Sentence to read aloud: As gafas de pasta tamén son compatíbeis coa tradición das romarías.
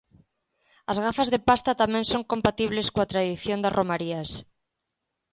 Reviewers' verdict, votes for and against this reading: rejected, 1, 2